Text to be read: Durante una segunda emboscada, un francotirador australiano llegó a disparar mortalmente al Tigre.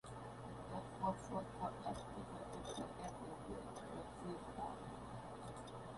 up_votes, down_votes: 0, 2